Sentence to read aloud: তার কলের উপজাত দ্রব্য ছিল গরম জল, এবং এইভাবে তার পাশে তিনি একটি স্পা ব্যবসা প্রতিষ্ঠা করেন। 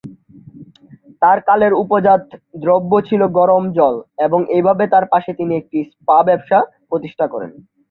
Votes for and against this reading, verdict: 0, 2, rejected